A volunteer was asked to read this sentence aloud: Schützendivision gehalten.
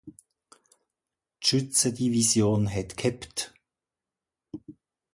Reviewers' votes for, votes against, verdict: 0, 2, rejected